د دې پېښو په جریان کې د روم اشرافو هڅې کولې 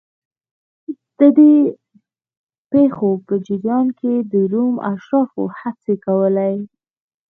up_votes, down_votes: 2, 0